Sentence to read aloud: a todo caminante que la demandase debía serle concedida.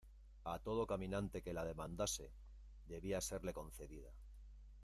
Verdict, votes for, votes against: rejected, 0, 2